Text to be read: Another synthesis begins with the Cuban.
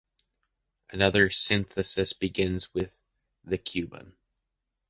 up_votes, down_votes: 2, 1